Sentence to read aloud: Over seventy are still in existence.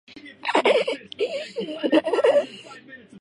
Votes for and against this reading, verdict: 0, 2, rejected